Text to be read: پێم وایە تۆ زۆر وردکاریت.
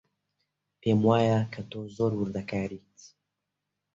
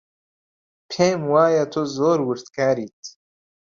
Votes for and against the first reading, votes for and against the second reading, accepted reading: 1, 2, 2, 0, second